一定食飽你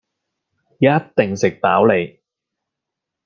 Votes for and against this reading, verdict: 2, 0, accepted